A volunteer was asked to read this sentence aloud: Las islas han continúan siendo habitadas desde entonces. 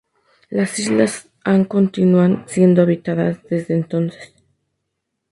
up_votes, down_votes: 2, 0